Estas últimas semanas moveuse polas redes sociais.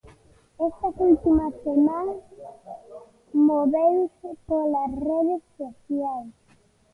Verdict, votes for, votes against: rejected, 0, 2